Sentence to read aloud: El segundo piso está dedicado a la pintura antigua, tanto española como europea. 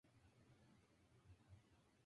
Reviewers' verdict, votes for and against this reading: accepted, 2, 0